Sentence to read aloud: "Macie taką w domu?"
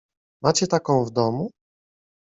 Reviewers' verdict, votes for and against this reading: accepted, 2, 0